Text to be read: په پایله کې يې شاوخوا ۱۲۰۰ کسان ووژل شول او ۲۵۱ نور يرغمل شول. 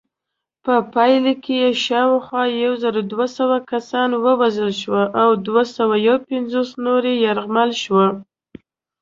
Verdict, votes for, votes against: rejected, 0, 2